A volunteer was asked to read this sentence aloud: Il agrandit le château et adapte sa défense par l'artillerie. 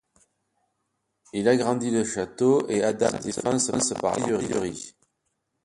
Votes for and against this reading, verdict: 2, 1, accepted